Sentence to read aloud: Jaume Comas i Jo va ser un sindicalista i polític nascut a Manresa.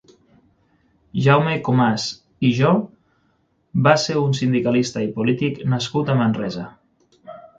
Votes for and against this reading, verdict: 3, 6, rejected